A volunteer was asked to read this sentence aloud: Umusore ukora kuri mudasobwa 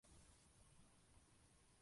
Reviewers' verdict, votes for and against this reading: rejected, 0, 2